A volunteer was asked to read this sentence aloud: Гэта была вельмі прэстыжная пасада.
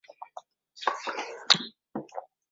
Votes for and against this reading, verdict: 0, 2, rejected